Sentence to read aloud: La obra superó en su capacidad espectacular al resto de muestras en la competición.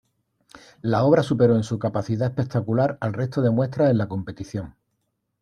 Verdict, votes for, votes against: accepted, 2, 0